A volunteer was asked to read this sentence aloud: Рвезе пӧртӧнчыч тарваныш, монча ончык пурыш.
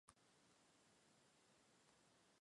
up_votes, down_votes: 0, 2